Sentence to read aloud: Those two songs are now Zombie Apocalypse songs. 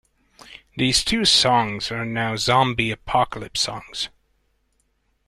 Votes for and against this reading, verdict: 1, 2, rejected